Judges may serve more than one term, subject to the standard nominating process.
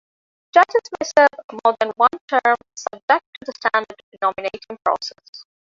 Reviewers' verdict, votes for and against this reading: rejected, 1, 2